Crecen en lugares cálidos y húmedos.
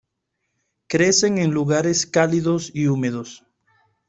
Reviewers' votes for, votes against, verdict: 2, 0, accepted